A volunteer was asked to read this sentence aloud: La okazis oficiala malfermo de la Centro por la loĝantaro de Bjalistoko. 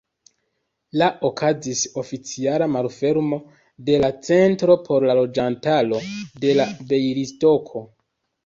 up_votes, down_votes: 1, 2